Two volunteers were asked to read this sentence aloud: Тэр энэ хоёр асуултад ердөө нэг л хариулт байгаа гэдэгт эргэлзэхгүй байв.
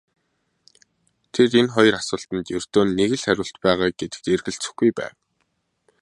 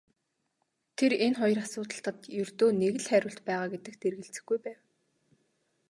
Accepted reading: first